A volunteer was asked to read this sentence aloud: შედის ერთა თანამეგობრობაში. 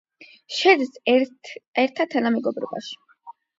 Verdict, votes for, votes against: rejected, 4, 8